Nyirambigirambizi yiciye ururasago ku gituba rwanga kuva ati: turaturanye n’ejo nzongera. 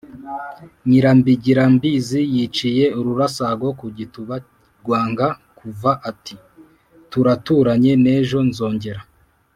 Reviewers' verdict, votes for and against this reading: accepted, 2, 0